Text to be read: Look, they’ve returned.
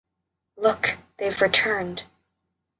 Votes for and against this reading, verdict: 2, 0, accepted